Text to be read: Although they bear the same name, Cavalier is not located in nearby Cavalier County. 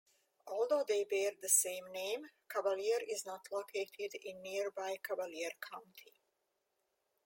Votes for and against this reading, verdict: 2, 0, accepted